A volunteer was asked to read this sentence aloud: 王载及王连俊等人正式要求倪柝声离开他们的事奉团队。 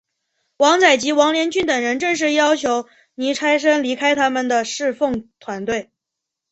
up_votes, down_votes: 3, 2